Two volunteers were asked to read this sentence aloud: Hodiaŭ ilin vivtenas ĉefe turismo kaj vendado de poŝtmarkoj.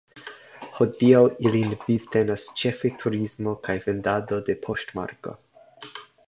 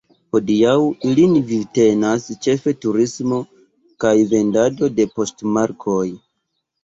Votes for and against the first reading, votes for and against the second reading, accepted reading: 2, 0, 0, 2, first